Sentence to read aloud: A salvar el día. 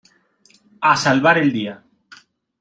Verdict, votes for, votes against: accepted, 2, 0